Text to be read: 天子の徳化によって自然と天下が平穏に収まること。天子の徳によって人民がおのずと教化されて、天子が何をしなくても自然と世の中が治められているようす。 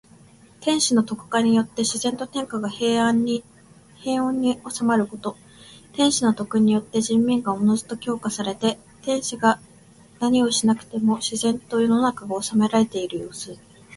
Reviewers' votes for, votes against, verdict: 2, 0, accepted